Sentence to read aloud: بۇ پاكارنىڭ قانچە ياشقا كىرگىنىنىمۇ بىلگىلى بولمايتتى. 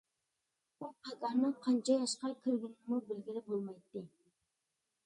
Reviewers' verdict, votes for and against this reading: rejected, 1, 2